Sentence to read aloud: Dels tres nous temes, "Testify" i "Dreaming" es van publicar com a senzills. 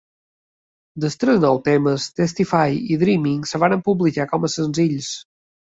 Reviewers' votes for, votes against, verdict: 1, 2, rejected